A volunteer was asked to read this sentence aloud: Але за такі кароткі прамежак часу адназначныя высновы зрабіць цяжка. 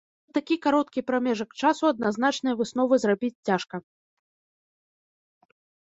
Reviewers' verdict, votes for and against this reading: rejected, 1, 2